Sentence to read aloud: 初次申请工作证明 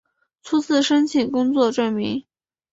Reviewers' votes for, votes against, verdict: 6, 0, accepted